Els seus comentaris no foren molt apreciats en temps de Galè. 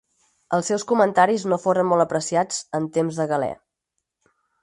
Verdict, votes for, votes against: accepted, 4, 0